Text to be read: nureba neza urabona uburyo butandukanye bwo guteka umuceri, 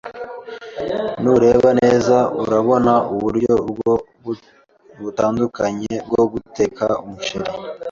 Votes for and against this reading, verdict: 1, 2, rejected